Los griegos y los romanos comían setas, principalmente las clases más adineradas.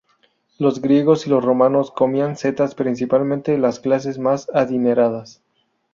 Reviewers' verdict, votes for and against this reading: rejected, 0, 2